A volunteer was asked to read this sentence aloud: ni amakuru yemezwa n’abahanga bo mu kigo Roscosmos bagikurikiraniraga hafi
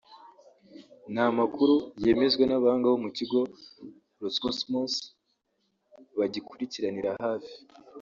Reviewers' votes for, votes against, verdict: 0, 2, rejected